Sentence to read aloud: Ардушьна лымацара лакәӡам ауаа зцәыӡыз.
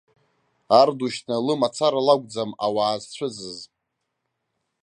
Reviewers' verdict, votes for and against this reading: accepted, 2, 0